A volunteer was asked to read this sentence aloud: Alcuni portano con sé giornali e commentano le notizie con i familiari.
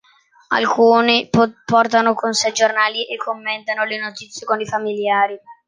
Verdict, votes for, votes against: rejected, 1, 2